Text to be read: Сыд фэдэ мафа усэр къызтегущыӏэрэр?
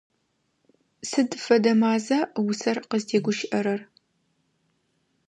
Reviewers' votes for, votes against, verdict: 0, 2, rejected